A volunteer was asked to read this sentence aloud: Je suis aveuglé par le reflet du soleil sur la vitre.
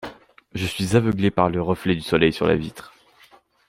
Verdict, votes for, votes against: accepted, 2, 0